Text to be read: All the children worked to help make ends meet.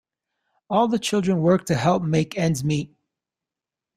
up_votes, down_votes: 2, 0